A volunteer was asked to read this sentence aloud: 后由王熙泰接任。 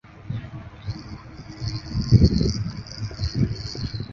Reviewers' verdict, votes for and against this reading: rejected, 0, 2